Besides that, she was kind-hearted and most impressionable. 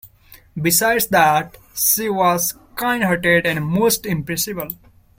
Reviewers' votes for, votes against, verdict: 1, 2, rejected